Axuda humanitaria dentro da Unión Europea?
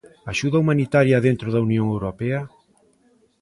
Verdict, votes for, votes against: accepted, 2, 0